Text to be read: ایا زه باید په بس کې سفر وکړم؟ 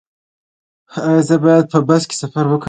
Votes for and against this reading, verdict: 2, 0, accepted